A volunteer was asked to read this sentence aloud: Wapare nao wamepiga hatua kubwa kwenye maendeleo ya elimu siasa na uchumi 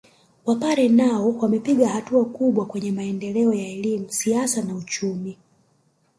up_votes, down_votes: 0, 2